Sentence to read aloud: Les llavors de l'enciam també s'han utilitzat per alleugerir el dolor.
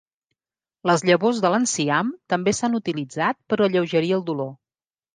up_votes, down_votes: 3, 0